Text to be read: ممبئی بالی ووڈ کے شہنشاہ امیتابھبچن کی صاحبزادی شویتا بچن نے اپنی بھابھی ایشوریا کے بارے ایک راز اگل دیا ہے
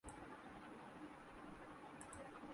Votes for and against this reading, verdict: 0, 2, rejected